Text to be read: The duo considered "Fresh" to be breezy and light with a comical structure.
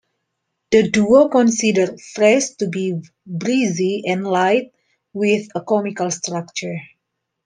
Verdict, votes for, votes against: accepted, 2, 0